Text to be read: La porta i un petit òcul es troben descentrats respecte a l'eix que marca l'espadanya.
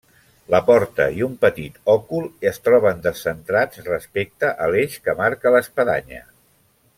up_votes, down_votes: 3, 0